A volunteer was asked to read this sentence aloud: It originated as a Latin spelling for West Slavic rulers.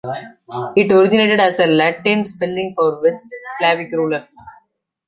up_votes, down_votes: 1, 2